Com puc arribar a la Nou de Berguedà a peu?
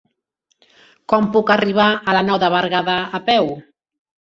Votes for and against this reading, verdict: 3, 1, accepted